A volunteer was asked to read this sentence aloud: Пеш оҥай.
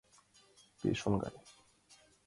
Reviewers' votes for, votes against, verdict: 2, 1, accepted